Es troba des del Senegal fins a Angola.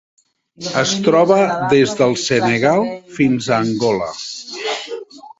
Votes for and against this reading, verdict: 1, 2, rejected